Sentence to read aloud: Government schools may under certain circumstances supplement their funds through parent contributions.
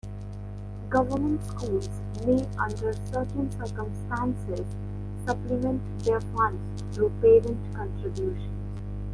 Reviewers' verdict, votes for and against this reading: accepted, 2, 1